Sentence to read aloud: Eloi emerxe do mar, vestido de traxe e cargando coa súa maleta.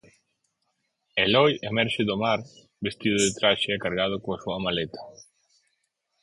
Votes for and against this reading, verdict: 0, 4, rejected